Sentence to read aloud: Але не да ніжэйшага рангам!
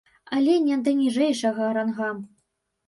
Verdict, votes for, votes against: rejected, 0, 3